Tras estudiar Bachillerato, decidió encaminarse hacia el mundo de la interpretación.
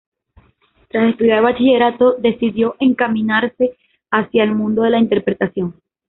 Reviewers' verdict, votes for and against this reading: accepted, 2, 1